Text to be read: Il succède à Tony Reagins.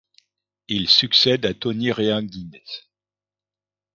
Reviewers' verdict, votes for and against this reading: rejected, 0, 2